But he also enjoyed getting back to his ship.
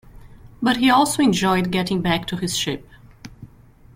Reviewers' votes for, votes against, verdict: 2, 0, accepted